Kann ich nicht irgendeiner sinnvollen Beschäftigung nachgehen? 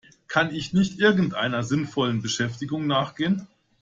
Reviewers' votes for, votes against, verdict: 2, 0, accepted